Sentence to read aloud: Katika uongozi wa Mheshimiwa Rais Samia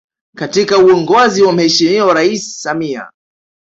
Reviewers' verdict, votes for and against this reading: accepted, 2, 1